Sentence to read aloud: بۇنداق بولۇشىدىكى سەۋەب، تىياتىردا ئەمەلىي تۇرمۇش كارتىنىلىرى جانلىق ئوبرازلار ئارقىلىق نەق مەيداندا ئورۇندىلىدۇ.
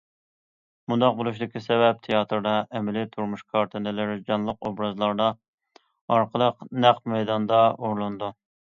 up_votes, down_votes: 0, 2